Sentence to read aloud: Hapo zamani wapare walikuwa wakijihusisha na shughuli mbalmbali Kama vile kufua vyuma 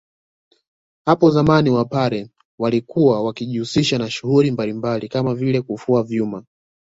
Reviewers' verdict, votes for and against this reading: accepted, 2, 0